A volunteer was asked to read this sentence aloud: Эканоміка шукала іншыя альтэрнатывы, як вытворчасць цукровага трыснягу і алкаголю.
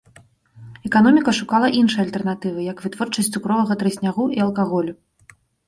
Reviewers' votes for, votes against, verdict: 2, 0, accepted